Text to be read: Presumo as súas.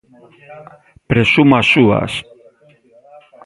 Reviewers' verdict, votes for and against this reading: rejected, 1, 2